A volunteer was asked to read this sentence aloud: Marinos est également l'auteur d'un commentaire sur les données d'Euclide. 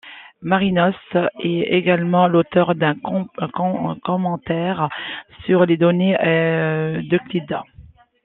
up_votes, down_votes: 0, 2